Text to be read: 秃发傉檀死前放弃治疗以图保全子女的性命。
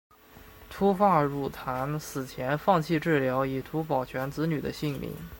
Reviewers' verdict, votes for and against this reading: accepted, 2, 0